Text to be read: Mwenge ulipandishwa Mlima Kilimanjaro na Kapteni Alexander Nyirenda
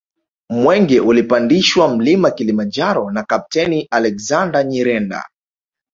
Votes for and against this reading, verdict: 8, 0, accepted